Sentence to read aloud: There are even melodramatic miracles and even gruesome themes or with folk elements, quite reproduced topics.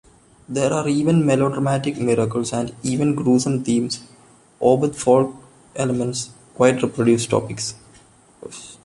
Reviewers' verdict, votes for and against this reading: accepted, 2, 0